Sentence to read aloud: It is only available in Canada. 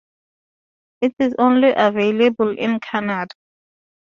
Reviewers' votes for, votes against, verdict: 0, 2, rejected